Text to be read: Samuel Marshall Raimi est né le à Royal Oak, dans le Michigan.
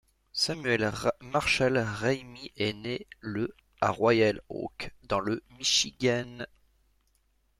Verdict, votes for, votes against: rejected, 1, 2